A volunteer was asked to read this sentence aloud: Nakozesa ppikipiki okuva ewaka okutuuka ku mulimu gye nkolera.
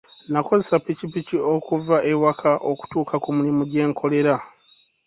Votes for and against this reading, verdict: 3, 2, accepted